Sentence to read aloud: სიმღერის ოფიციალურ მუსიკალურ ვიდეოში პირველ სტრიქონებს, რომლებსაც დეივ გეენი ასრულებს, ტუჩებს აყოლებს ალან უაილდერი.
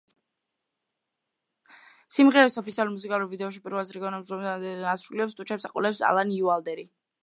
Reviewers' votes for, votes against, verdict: 1, 2, rejected